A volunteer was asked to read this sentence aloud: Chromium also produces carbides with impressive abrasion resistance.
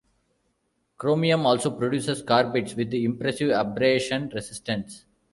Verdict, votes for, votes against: rejected, 0, 2